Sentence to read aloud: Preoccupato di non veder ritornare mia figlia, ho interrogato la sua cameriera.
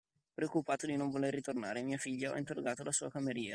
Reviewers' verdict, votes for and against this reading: rejected, 0, 2